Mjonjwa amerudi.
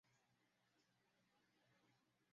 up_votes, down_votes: 0, 2